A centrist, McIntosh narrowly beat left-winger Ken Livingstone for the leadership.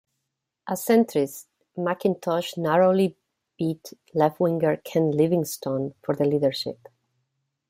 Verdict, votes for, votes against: accepted, 2, 0